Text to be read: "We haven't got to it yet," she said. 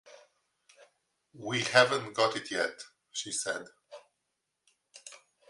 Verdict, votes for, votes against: rejected, 1, 2